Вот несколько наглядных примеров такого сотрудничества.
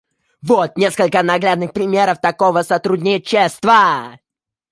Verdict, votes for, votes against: rejected, 0, 2